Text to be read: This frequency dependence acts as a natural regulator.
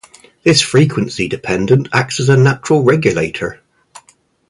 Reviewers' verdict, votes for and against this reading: rejected, 0, 2